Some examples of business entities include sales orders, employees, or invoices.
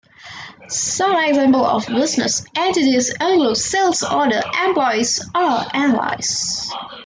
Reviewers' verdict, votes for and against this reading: rejected, 1, 2